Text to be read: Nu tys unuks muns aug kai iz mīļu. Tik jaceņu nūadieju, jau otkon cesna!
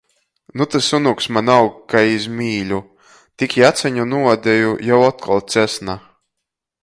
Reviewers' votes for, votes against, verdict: 0, 2, rejected